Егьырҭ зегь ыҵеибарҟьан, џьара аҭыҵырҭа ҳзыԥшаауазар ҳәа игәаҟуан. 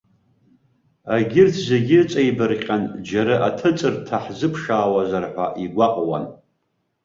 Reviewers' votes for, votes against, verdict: 2, 0, accepted